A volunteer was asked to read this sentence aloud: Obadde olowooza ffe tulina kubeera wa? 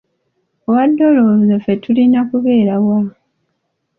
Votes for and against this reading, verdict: 1, 2, rejected